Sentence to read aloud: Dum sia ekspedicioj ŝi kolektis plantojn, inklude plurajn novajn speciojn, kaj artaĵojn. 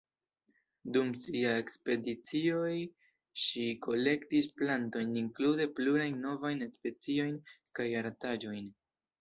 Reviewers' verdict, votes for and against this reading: accepted, 2, 0